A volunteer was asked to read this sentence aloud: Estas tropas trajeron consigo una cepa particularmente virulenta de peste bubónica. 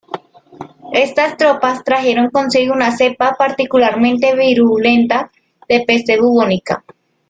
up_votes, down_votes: 2, 0